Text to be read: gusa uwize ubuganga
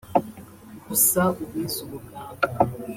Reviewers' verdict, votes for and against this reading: accepted, 2, 0